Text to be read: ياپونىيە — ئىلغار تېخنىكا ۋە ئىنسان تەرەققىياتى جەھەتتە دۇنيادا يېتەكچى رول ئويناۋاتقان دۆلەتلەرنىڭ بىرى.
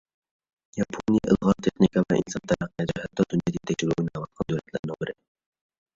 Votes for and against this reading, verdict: 0, 2, rejected